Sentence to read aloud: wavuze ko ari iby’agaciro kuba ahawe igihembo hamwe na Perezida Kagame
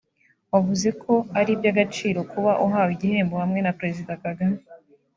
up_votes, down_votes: 1, 2